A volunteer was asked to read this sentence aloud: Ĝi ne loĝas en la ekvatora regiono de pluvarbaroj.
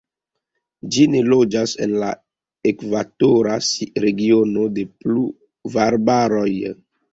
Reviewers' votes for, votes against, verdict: 0, 2, rejected